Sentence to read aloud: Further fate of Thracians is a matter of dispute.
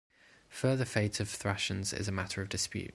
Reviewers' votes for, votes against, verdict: 2, 0, accepted